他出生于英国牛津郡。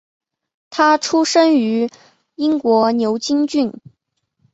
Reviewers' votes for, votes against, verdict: 2, 0, accepted